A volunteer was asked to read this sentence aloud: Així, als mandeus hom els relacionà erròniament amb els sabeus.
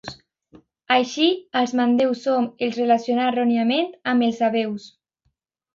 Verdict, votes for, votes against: accepted, 2, 0